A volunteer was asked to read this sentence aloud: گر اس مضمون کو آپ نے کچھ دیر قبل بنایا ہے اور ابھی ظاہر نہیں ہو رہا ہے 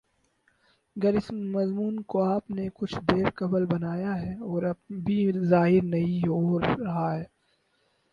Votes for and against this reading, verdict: 4, 2, accepted